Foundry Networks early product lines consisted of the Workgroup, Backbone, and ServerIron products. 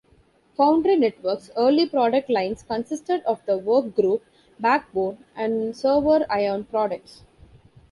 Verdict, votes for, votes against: rejected, 0, 2